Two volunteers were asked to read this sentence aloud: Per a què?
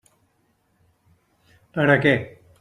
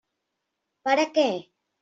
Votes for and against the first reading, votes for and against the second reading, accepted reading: 3, 1, 1, 2, first